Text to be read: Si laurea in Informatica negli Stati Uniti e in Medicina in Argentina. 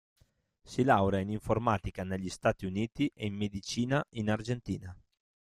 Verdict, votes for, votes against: rejected, 0, 2